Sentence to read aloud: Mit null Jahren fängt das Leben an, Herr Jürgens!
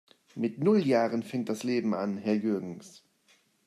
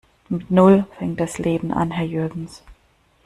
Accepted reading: first